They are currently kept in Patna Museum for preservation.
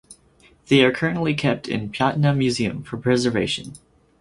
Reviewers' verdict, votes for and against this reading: accepted, 4, 0